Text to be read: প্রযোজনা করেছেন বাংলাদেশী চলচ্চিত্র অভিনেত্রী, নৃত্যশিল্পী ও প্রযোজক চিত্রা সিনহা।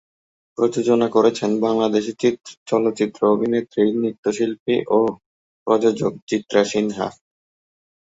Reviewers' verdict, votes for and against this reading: accepted, 3, 2